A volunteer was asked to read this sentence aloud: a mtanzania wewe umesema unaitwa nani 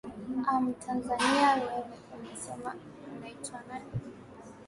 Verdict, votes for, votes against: rejected, 0, 2